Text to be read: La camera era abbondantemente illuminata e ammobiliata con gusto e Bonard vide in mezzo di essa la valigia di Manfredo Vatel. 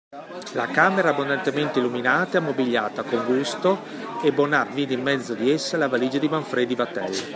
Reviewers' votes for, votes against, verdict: 0, 2, rejected